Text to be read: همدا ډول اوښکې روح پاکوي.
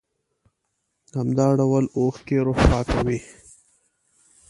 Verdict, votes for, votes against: accepted, 2, 0